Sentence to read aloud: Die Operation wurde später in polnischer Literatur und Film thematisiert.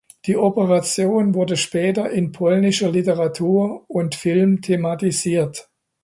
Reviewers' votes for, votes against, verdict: 2, 0, accepted